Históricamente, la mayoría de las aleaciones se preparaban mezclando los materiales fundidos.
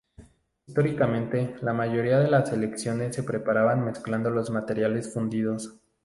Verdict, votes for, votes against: rejected, 0, 2